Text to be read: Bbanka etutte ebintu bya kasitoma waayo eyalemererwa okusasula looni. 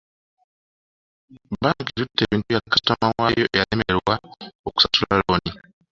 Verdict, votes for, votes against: rejected, 0, 2